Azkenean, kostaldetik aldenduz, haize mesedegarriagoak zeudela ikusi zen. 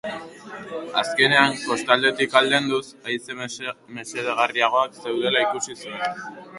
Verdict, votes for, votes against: rejected, 0, 2